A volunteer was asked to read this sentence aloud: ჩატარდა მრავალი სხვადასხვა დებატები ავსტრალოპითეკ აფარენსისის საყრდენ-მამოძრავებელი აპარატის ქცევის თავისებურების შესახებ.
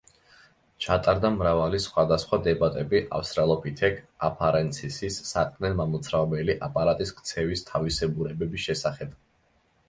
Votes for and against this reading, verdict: 1, 2, rejected